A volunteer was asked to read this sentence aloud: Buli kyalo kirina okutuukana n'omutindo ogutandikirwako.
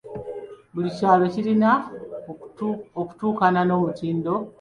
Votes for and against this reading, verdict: 1, 2, rejected